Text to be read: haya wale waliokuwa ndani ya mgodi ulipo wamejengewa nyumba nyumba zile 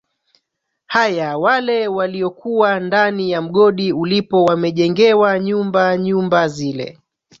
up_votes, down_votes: 0, 2